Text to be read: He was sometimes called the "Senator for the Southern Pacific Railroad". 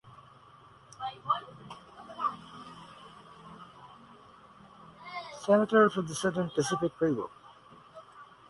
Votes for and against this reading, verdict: 0, 2, rejected